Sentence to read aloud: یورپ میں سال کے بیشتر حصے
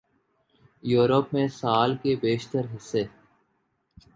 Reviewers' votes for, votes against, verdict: 4, 0, accepted